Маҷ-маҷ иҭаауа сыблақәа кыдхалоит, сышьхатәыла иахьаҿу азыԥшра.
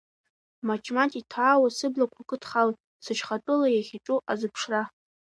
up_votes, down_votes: 1, 2